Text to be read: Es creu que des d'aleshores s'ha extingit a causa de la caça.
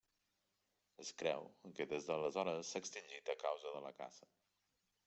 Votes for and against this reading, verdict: 0, 2, rejected